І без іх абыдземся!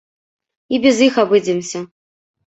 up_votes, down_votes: 0, 2